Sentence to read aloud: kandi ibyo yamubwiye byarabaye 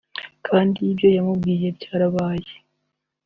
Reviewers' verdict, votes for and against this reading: accepted, 2, 0